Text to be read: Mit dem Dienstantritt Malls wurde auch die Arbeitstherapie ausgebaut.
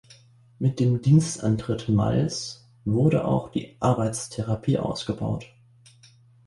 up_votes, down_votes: 2, 0